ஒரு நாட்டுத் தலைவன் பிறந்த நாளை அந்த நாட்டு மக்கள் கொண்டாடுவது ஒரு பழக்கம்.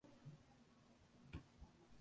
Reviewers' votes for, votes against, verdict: 0, 2, rejected